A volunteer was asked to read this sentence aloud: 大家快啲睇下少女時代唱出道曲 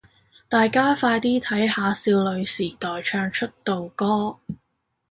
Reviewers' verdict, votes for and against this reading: rejected, 1, 2